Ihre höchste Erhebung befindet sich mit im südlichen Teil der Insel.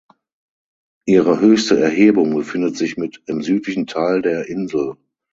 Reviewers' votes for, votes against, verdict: 6, 0, accepted